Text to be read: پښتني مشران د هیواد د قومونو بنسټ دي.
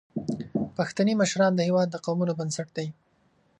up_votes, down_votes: 2, 1